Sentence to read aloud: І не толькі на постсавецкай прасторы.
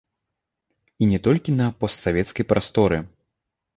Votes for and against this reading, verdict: 0, 2, rejected